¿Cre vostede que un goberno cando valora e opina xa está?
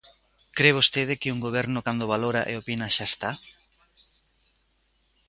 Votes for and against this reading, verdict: 2, 0, accepted